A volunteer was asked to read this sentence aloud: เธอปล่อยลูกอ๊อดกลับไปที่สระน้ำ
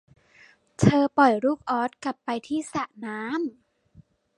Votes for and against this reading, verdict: 2, 0, accepted